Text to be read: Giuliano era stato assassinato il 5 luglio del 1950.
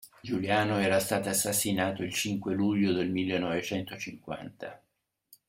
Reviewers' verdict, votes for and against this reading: rejected, 0, 2